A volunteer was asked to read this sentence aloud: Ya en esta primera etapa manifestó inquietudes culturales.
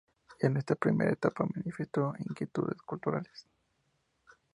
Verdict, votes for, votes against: accepted, 2, 0